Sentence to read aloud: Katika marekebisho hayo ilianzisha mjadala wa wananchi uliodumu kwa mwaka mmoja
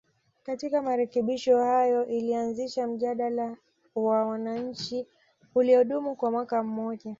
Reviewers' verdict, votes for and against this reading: accepted, 2, 1